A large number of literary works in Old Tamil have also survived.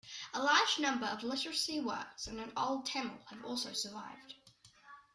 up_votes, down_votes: 0, 2